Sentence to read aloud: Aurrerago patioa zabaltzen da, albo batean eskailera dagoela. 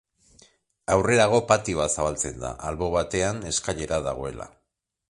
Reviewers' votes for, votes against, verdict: 2, 0, accepted